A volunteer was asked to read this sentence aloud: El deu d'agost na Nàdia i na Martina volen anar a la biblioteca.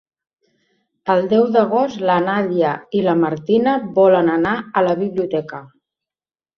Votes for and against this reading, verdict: 1, 2, rejected